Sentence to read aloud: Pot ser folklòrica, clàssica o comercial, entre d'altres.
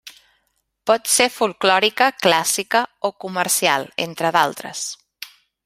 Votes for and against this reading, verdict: 3, 0, accepted